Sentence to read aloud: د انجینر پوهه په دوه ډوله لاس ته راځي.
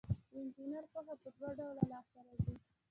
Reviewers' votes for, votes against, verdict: 1, 2, rejected